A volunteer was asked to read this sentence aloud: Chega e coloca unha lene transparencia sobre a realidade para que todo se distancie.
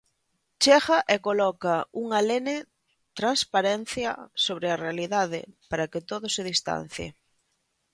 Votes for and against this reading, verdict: 2, 0, accepted